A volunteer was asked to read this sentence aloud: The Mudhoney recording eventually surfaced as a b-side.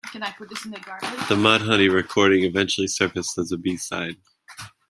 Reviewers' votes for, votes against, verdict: 1, 2, rejected